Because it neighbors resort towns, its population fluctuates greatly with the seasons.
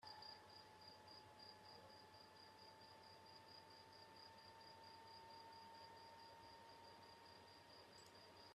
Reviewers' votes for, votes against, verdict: 0, 2, rejected